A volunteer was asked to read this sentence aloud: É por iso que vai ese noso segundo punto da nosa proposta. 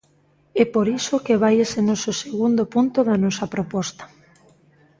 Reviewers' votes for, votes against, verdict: 2, 0, accepted